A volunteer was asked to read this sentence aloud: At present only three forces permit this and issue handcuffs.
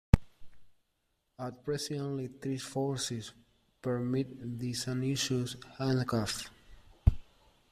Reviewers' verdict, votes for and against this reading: rejected, 1, 2